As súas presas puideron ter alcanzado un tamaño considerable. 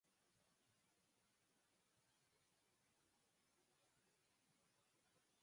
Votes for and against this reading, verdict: 0, 44, rejected